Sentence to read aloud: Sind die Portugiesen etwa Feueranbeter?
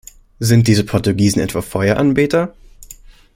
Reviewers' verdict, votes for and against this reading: rejected, 1, 2